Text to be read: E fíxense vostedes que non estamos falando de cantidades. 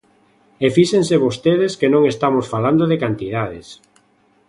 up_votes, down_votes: 2, 0